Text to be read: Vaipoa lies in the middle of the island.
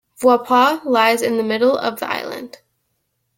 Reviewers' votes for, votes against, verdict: 2, 0, accepted